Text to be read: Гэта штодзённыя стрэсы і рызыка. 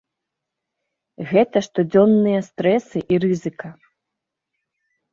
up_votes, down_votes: 2, 1